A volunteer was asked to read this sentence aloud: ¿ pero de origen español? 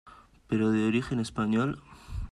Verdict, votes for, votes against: accepted, 2, 0